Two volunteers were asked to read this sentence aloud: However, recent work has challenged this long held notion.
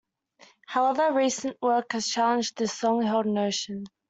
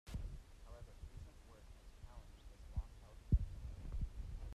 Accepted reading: first